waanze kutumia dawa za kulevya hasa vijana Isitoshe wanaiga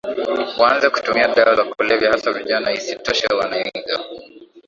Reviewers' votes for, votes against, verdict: 4, 3, accepted